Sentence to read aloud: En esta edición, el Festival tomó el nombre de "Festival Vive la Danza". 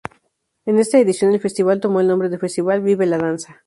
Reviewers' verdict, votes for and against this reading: accepted, 2, 0